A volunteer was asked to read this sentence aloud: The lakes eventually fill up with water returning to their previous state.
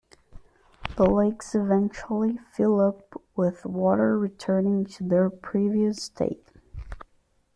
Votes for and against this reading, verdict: 2, 0, accepted